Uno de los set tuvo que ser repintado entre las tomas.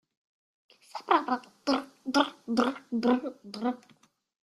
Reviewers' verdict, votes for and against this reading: rejected, 0, 2